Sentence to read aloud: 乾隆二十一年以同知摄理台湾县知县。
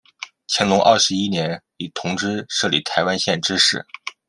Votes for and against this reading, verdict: 0, 2, rejected